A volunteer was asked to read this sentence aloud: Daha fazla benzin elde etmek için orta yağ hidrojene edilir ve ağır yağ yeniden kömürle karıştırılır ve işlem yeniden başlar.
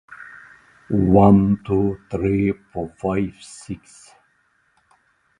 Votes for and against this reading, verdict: 0, 2, rejected